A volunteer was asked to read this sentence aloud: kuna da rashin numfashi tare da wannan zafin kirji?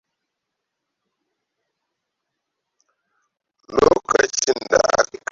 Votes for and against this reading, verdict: 0, 2, rejected